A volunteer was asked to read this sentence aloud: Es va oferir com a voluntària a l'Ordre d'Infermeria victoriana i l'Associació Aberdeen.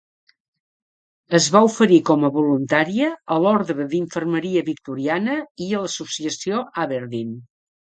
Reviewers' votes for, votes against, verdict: 1, 2, rejected